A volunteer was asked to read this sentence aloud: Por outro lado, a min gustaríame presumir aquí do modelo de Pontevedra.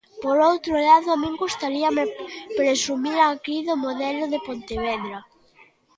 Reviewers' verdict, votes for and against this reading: rejected, 0, 2